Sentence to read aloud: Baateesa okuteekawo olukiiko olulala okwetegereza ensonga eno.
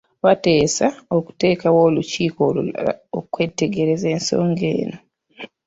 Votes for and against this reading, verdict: 0, 2, rejected